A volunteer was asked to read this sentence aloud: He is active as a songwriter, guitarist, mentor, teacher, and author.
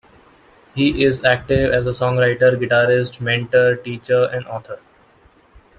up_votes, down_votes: 2, 0